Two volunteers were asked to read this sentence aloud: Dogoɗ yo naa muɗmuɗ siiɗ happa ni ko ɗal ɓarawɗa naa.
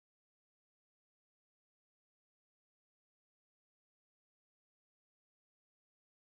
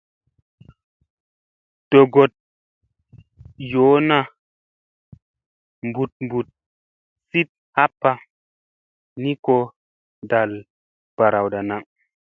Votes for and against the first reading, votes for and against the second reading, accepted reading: 0, 2, 2, 0, second